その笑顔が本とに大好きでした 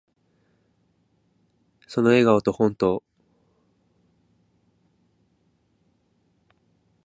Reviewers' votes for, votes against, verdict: 0, 2, rejected